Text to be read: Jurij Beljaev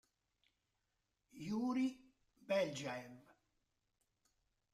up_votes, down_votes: 1, 2